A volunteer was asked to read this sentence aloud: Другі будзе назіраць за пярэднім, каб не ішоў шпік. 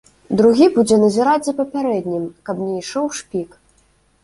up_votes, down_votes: 1, 2